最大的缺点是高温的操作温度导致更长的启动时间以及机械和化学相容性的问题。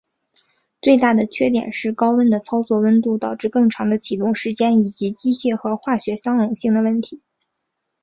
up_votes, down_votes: 3, 0